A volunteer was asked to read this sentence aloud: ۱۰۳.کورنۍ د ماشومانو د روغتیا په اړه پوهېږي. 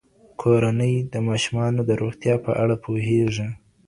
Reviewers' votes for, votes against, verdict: 0, 2, rejected